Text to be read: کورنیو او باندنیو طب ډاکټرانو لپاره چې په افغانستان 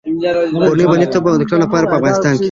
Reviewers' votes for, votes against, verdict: 2, 0, accepted